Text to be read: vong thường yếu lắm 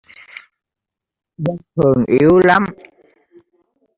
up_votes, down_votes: 1, 2